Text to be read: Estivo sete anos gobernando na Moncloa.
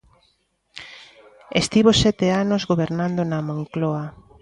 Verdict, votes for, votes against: accepted, 2, 0